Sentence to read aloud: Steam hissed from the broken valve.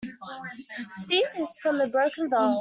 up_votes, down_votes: 1, 2